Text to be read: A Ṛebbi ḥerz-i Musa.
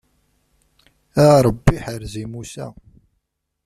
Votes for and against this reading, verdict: 0, 2, rejected